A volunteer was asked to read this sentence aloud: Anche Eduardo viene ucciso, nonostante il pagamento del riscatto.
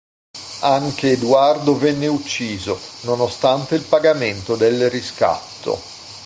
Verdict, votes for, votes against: rejected, 1, 2